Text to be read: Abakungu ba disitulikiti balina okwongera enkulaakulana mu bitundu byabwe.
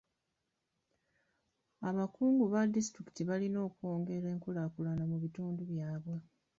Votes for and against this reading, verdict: 0, 2, rejected